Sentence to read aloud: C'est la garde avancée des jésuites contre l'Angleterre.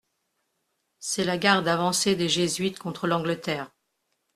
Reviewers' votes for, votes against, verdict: 2, 0, accepted